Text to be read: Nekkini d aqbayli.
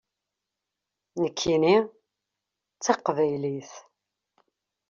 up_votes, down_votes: 0, 2